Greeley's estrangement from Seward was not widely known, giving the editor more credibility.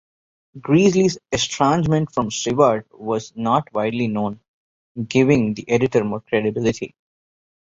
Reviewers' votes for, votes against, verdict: 1, 2, rejected